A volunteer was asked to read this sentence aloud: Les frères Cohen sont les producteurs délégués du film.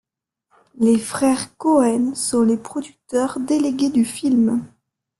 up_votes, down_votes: 2, 1